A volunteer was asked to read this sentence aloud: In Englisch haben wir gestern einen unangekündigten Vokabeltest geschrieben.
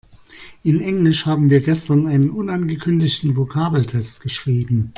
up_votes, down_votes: 2, 0